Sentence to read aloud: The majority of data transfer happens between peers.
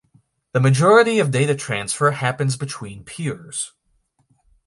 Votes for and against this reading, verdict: 2, 0, accepted